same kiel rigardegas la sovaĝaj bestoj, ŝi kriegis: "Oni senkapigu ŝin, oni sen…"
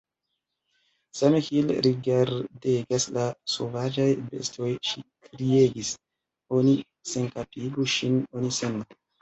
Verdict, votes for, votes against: rejected, 0, 2